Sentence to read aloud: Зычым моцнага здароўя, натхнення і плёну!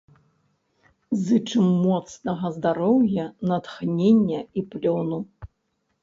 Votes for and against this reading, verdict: 1, 2, rejected